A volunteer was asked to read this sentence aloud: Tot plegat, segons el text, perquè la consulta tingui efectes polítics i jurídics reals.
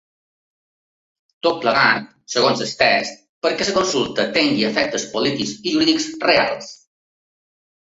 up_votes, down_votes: 0, 3